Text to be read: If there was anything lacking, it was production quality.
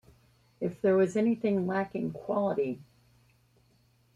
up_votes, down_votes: 0, 2